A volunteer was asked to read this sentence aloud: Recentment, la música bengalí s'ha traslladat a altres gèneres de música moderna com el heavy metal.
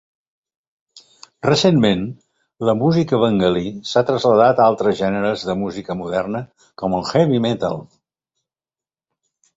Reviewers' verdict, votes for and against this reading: accepted, 3, 0